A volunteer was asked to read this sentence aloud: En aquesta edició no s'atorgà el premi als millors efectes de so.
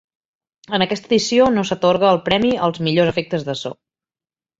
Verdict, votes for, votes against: rejected, 2, 3